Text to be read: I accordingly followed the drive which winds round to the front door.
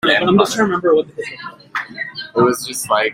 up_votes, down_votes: 0, 2